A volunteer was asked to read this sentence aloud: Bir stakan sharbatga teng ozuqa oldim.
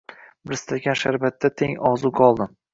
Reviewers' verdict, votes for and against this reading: rejected, 0, 2